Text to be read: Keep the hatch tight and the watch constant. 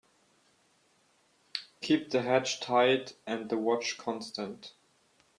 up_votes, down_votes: 2, 0